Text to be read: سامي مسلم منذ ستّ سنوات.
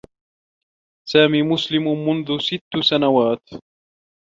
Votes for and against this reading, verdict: 0, 2, rejected